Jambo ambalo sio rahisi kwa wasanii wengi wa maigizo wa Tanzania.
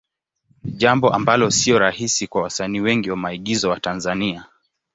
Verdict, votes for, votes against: accepted, 2, 0